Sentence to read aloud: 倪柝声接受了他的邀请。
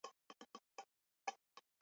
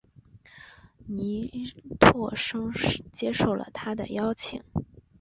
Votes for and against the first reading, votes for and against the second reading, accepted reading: 0, 2, 4, 0, second